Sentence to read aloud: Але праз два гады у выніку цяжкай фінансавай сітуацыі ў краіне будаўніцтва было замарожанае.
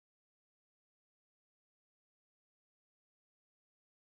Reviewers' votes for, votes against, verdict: 0, 2, rejected